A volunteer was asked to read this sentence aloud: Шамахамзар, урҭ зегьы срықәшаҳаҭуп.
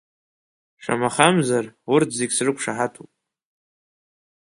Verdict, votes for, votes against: accepted, 3, 0